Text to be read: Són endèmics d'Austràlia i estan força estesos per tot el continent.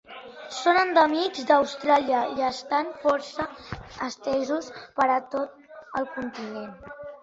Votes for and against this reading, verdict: 0, 3, rejected